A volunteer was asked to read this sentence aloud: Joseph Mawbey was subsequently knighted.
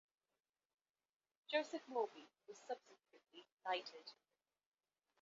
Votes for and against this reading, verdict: 1, 2, rejected